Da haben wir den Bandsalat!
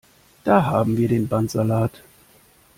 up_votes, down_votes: 2, 0